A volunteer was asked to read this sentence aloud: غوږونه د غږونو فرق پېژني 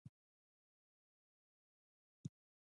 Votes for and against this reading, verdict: 0, 2, rejected